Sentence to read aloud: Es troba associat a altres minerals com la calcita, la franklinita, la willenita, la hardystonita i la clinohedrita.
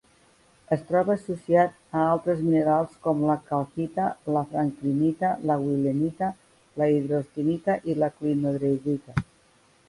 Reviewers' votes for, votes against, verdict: 0, 2, rejected